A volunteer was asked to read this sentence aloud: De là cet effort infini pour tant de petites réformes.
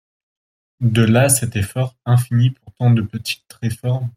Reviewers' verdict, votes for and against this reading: accepted, 2, 0